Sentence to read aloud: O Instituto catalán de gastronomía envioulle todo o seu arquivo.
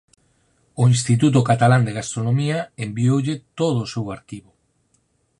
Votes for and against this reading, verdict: 4, 0, accepted